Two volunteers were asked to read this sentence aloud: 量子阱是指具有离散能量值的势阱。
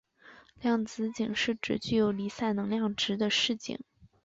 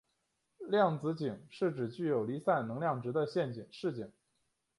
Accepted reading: first